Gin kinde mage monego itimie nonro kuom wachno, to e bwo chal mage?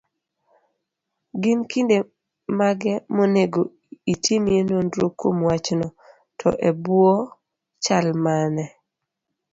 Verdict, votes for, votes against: rejected, 0, 2